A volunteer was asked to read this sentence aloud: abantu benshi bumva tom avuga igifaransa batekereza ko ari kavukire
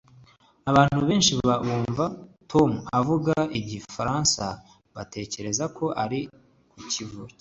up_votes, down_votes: 1, 2